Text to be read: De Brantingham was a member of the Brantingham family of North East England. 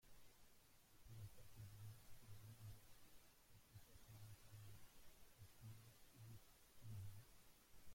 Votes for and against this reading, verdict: 0, 2, rejected